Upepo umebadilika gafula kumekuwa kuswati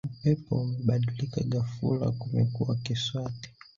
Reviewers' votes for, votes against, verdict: 1, 2, rejected